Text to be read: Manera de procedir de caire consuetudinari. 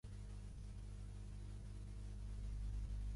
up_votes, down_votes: 0, 2